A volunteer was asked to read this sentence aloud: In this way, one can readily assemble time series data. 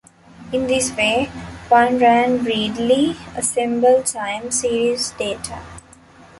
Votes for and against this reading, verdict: 1, 2, rejected